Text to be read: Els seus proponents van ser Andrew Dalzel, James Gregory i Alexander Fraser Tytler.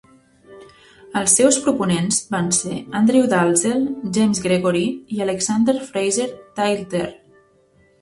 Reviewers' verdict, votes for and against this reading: rejected, 1, 2